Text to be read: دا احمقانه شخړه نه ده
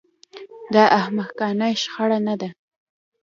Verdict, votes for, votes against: accepted, 2, 0